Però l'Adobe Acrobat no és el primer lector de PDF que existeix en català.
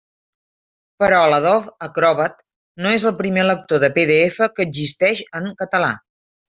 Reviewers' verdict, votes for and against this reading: rejected, 0, 2